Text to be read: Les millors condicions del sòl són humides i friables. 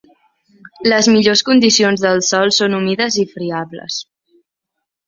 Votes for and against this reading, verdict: 4, 0, accepted